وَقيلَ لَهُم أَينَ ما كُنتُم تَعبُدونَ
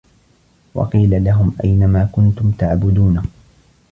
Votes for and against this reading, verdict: 2, 0, accepted